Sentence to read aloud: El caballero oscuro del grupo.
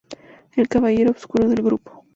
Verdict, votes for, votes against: accepted, 2, 0